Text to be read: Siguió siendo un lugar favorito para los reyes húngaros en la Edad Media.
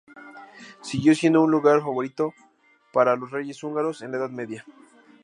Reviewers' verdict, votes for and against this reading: accepted, 2, 0